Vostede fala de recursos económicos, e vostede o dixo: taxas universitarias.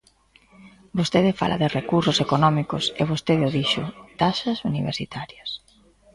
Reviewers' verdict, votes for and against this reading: accepted, 2, 0